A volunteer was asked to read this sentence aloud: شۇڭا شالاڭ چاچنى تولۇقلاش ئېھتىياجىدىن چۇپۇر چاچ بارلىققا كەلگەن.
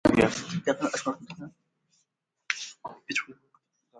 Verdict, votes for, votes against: rejected, 0, 2